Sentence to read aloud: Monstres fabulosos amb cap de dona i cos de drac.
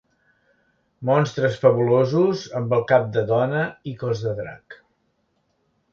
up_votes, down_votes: 1, 2